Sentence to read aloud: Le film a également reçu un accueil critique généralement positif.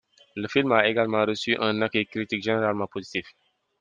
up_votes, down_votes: 2, 0